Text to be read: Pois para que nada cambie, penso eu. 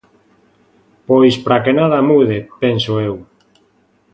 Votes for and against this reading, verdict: 0, 2, rejected